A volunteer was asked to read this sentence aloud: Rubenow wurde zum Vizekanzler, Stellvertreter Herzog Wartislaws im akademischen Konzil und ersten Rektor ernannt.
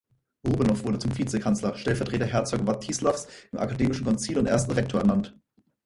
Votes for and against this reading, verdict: 2, 4, rejected